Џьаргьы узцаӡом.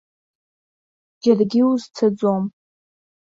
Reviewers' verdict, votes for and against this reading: accepted, 2, 0